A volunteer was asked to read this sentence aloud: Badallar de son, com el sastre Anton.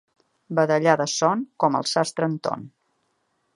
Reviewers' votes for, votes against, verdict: 2, 0, accepted